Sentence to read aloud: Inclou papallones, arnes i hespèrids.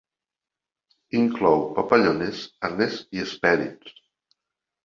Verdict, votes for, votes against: accepted, 2, 0